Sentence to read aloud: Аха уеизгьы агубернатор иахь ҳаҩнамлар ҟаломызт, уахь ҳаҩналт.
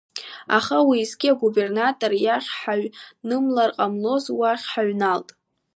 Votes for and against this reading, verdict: 2, 1, accepted